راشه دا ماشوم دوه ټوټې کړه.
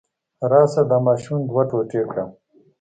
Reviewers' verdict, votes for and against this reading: accepted, 2, 0